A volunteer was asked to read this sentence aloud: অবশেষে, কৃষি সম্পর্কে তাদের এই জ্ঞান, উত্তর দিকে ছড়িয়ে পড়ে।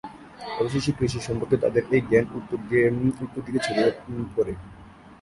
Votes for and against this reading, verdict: 0, 2, rejected